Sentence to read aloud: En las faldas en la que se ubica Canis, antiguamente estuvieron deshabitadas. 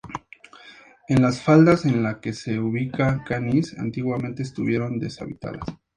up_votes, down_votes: 2, 0